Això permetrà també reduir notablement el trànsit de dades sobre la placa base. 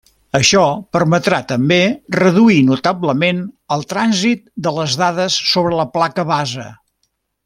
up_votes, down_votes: 1, 2